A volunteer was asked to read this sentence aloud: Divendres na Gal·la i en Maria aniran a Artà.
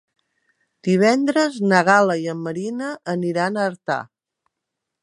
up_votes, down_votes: 1, 2